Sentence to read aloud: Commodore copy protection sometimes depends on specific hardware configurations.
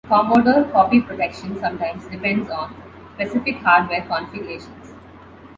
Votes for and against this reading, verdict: 2, 0, accepted